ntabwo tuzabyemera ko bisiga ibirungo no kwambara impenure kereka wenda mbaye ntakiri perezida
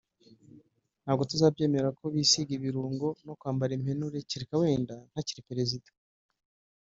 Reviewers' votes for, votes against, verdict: 1, 2, rejected